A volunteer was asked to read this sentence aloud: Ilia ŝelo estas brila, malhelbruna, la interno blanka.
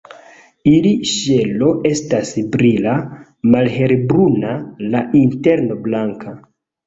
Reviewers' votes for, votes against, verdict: 0, 2, rejected